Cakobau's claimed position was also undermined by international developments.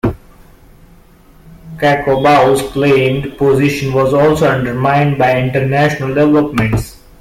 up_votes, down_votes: 1, 2